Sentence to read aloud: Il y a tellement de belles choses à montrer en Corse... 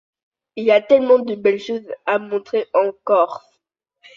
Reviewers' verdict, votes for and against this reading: accepted, 2, 0